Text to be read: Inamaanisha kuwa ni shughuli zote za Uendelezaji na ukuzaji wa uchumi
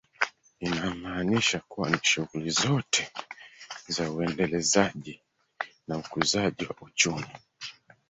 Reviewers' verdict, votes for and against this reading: rejected, 1, 3